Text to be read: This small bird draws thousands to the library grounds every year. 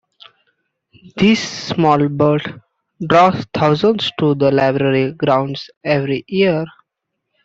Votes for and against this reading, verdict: 2, 0, accepted